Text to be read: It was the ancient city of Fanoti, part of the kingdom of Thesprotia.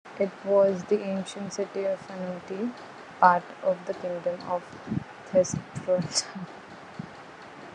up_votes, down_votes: 0, 2